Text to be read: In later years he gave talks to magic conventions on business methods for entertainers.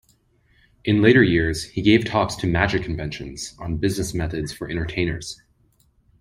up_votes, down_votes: 2, 0